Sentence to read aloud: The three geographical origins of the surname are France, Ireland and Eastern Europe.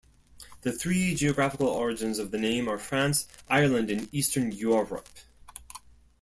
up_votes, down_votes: 1, 2